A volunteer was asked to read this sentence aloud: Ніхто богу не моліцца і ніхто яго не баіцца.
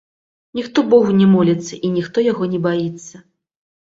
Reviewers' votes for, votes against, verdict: 1, 2, rejected